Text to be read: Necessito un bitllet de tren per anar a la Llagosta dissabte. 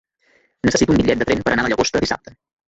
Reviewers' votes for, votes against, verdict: 0, 2, rejected